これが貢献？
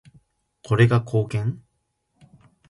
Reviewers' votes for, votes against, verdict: 2, 0, accepted